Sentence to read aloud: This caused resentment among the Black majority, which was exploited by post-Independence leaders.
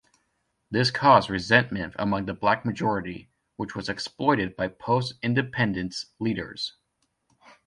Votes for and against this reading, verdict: 2, 0, accepted